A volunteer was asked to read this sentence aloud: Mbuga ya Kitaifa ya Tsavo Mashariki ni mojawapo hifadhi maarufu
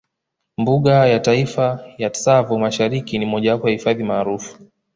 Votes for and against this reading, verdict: 2, 0, accepted